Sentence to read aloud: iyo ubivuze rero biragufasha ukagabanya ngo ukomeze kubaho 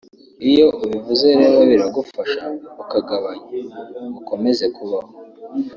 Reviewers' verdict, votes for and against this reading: rejected, 0, 2